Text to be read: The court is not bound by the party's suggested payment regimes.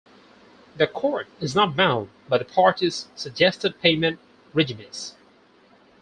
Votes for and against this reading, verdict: 2, 4, rejected